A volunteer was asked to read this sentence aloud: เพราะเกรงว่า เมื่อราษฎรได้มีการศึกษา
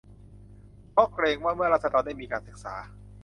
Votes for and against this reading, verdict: 2, 0, accepted